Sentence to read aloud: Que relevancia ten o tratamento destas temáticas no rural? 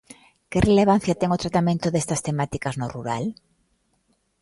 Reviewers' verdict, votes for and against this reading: accepted, 2, 0